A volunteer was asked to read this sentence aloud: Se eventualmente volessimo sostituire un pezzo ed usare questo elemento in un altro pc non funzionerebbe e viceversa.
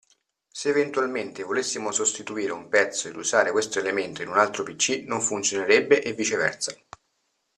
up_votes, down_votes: 2, 0